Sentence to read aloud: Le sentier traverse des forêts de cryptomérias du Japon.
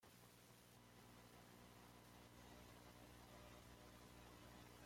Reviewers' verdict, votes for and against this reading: rejected, 0, 2